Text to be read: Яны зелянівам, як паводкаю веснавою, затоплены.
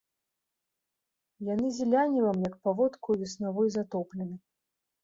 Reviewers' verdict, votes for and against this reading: accepted, 2, 0